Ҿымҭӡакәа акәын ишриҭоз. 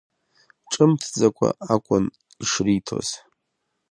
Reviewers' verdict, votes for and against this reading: accepted, 2, 0